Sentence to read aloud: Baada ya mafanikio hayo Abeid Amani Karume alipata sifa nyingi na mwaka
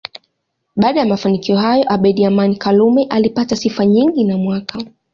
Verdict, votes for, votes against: accepted, 2, 0